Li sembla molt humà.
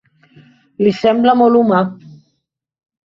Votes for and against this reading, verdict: 3, 0, accepted